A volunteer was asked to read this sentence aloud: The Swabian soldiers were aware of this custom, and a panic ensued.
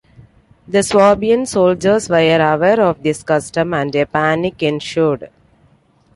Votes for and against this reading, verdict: 1, 2, rejected